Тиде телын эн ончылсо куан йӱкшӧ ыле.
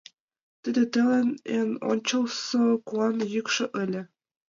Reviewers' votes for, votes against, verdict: 0, 2, rejected